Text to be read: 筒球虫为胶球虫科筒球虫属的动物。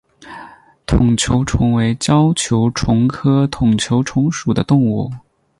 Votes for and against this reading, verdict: 12, 0, accepted